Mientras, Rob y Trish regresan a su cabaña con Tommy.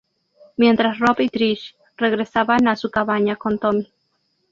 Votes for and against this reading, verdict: 0, 4, rejected